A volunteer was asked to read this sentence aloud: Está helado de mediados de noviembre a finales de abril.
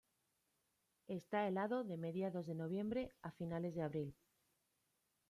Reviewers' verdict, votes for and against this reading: accepted, 2, 0